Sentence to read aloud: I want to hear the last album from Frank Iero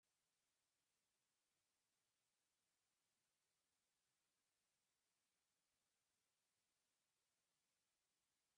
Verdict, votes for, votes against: rejected, 0, 2